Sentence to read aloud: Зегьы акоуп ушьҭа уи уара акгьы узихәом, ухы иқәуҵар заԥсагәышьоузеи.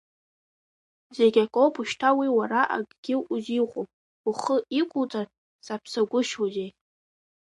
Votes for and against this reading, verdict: 1, 2, rejected